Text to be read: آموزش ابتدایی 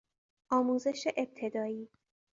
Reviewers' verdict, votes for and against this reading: accepted, 2, 0